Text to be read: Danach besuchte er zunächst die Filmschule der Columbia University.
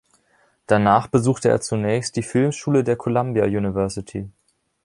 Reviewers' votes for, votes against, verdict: 2, 0, accepted